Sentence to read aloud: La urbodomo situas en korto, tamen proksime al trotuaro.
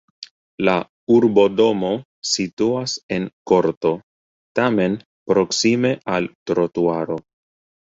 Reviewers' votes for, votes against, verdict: 3, 1, accepted